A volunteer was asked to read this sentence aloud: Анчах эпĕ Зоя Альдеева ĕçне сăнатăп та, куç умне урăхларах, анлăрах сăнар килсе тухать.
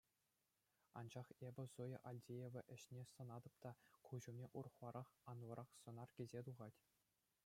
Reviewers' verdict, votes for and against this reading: accepted, 2, 0